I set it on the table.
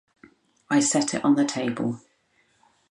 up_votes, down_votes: 2, 2